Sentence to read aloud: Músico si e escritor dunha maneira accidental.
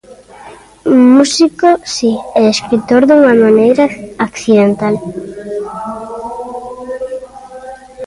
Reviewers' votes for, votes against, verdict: 1, 2, rejected